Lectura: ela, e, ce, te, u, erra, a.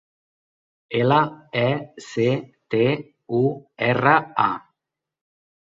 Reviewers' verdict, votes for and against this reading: rejected, 0, 2